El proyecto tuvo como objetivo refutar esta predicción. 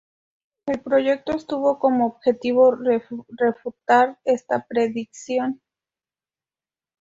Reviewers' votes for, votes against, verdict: 0, 2, rejected